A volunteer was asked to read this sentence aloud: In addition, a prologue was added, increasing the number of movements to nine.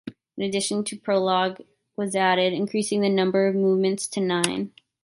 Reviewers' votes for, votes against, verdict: 1, 2, rejected